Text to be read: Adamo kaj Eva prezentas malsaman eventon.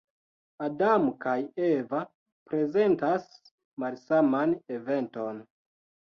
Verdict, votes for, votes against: accepted, 3, 0